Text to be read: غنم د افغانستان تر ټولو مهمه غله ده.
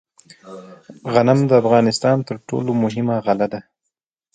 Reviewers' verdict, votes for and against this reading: accepted, 2, 0